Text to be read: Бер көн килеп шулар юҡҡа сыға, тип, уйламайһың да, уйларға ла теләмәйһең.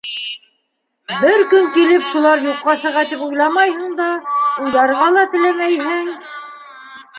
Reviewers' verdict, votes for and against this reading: rejected, 1, 2